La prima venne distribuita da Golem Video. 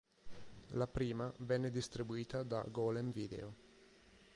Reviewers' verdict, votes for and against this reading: accepted, 9, 0